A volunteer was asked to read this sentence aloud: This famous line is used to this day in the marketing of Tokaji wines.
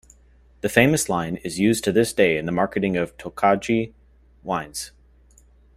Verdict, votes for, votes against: rejected, 1, 2